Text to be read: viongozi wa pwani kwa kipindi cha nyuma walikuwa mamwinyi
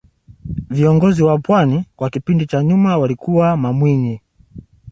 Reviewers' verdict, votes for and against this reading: accepted, 2, 0